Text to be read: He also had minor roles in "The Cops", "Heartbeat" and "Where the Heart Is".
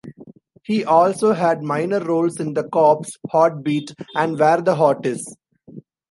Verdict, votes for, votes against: accepted, 2, 0